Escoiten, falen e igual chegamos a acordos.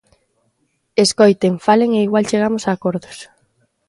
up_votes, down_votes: 2, 0